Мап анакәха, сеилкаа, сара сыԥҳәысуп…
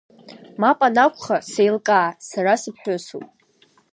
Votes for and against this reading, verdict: 2, 0, accepted